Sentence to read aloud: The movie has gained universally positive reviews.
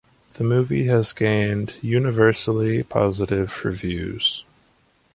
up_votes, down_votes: 2, 0